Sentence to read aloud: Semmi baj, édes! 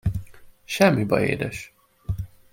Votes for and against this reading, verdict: 2, 0, accepted